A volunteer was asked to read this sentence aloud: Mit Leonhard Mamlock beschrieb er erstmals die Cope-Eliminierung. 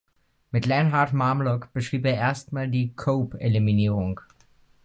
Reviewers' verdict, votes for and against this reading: rejected, 0, 2